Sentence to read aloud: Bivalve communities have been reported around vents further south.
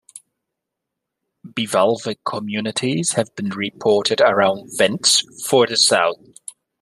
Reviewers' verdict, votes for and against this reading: accepted, 2, 0